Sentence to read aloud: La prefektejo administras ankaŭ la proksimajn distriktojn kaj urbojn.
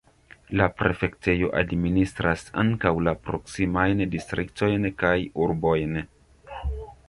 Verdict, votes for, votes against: accepted, 2, 1